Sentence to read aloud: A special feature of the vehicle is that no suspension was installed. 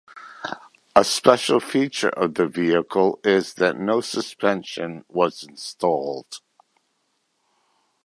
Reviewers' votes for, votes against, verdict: 2, 0, accepted